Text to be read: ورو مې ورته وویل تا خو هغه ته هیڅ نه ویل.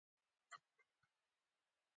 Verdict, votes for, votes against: accepted, 2, 1